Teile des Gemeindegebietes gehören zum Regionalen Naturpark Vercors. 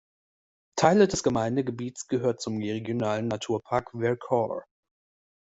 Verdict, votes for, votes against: rejected, 1, 2